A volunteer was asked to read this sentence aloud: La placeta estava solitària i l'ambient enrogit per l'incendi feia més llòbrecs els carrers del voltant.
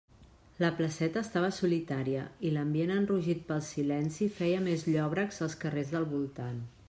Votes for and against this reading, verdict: 0, 2, rejected